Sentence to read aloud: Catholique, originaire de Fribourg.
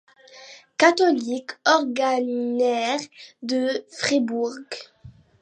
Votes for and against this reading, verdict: 0, 2, rejected